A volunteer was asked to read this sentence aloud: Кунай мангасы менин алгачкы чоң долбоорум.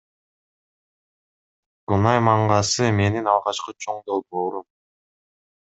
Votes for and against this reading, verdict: 2, 0, accepted